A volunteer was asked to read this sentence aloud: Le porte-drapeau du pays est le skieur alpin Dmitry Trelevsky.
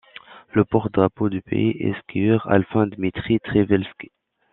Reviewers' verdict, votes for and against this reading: rejected, 0, 2